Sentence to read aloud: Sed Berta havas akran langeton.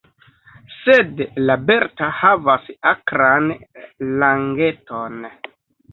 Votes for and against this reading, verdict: 1, 2, rejected